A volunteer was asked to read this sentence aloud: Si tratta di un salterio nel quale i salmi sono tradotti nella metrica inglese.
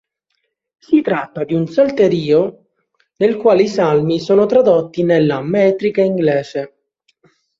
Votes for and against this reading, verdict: 0, 2, rejected